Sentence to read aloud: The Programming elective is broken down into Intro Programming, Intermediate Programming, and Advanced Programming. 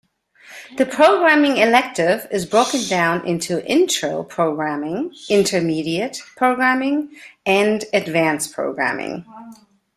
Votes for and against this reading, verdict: 2, 0, accepted